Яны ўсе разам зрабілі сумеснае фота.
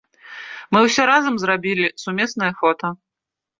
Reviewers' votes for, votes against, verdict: 0, 2, rejected